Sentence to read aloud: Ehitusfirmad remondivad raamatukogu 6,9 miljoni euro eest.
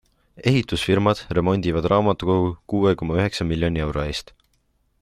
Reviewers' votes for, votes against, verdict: 0, 2, rejected